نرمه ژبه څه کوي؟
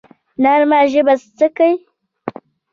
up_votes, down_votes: 2, 1